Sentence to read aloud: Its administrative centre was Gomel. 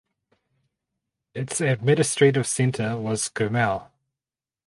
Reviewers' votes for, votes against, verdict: 2, 2, rejected